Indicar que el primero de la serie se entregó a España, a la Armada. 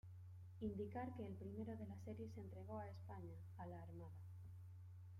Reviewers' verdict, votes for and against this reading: rejected, 0, 2